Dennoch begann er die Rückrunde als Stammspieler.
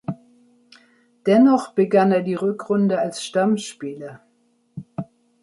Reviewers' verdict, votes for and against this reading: accepted, 2, 0